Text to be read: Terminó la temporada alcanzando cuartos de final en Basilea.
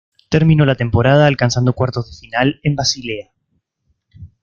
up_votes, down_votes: 2, 0